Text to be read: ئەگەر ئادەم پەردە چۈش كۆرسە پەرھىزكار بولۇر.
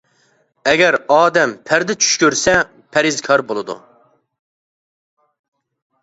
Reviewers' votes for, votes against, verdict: 0, 2, rejected